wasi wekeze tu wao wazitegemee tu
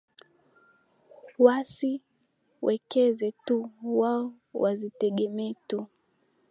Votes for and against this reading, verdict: 2, 0, accepted